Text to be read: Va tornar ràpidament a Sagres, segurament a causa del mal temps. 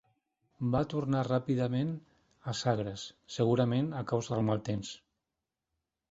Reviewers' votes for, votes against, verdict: 3, 0, accepted